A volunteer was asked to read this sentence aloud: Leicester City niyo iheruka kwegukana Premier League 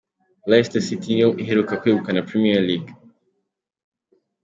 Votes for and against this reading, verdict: 2, 1, accepted